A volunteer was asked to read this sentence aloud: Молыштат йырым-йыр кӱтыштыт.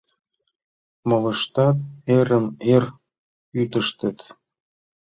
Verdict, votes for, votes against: accepted, 2, 1